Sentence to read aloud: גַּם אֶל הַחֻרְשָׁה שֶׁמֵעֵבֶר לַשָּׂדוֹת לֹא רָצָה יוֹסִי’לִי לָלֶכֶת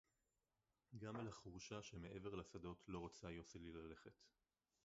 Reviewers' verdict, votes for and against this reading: rejected, 0, 4